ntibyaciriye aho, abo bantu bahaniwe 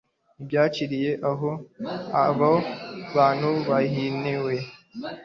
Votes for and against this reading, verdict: 0, 2, rejected